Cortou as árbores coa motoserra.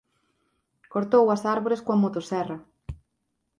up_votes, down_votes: 4, 0